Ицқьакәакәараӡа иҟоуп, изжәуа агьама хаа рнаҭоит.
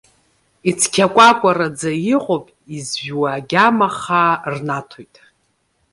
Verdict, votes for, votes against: accepted, 2, 0